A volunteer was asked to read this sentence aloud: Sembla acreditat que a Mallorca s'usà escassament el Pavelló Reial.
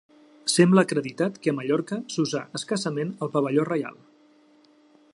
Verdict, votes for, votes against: accepted, 2, 0